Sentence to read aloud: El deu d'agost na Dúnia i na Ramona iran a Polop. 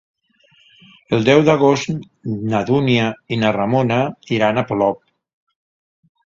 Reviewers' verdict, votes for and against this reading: accepted, 2, 0